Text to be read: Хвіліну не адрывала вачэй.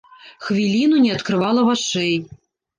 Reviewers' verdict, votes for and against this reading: rejected, 0, 2